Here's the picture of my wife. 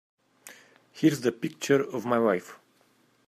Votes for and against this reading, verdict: 2, 0, accepted